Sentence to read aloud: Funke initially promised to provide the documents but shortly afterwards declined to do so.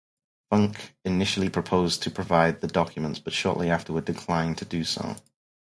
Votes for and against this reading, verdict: 2, 4, rejected